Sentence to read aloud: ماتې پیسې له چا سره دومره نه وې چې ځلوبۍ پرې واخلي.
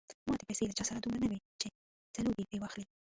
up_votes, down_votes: 0, 2